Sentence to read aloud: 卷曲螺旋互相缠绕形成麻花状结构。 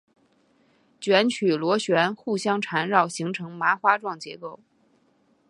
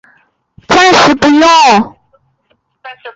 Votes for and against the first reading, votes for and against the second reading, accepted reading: 3, 0, 0, 5, first